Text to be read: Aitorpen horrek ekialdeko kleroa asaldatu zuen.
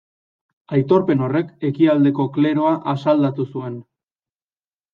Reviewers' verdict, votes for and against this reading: accepted, 2, 0